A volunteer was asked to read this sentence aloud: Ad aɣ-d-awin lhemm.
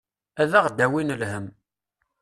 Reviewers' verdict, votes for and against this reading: accepted, 2, 0